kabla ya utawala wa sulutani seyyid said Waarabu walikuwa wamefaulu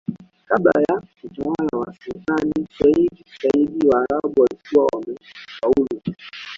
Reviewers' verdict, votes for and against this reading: rejected, 1, 2